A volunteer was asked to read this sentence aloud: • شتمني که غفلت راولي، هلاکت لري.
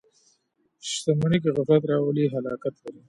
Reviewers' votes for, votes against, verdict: 2, 0, accepted